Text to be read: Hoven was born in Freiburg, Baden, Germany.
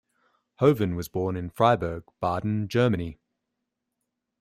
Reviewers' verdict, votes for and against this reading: accepted, 2, 0